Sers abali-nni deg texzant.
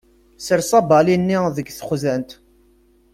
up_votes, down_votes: 2, 0